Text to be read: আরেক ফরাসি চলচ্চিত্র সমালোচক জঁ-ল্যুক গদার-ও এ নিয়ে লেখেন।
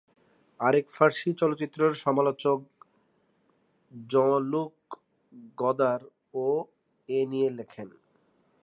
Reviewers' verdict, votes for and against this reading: rejected, 4, 9